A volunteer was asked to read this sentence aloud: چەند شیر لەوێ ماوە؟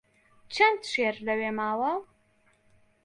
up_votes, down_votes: 1, 2